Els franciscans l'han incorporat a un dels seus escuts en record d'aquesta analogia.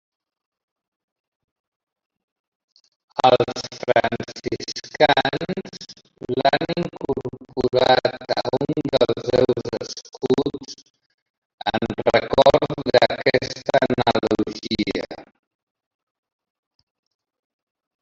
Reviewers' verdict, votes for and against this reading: rejected, 0, 2